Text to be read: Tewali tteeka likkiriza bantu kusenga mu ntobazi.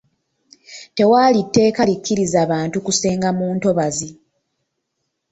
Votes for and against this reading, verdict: 1, 2, rejected